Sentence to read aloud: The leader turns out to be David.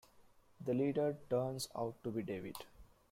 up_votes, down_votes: 2, 1